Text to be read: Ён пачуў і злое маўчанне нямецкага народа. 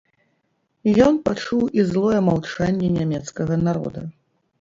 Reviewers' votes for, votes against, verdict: 1, 2, rejected